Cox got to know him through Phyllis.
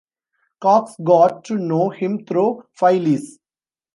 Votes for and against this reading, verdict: 1, 2, rejected